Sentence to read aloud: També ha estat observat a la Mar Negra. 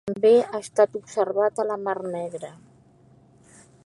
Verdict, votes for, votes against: rejected, 1, 2